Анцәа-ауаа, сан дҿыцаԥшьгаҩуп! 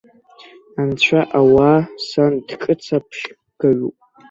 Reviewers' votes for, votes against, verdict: 1, 2, rejected